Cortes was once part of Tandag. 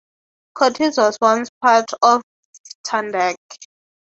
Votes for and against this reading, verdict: 3, 0, accepted